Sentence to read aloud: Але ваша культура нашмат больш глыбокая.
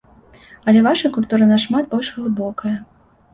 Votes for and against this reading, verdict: 2, 0, accepted